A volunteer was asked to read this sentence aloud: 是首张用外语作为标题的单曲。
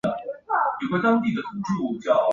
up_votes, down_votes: 0, 2